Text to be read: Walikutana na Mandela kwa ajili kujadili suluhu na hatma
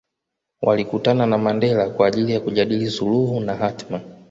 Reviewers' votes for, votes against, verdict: 2, 0, accepted